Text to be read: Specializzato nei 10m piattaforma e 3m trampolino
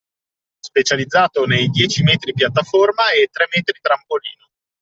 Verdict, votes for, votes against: rejected, 0, 2